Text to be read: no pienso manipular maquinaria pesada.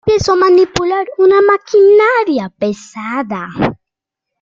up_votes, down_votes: 0, 2